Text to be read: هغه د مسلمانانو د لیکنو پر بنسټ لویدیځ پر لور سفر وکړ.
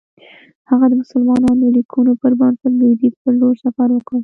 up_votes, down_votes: 2, 1